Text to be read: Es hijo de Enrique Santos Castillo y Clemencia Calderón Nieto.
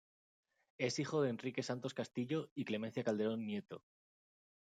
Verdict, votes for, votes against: accepted, 2, 0